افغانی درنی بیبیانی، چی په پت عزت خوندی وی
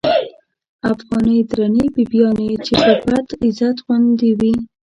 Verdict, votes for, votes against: rejected, 1, 2